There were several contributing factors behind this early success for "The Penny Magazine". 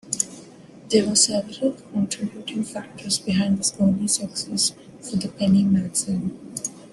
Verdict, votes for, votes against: accepted, 2, 0